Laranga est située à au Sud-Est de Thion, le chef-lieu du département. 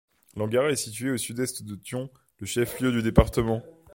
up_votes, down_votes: 0, 2